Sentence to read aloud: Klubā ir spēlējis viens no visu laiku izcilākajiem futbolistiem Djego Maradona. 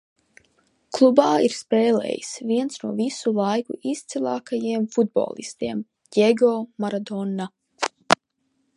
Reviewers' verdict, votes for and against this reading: accepted, 2, 0